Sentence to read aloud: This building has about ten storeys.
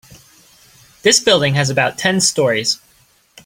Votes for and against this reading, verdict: 2, 0, accepted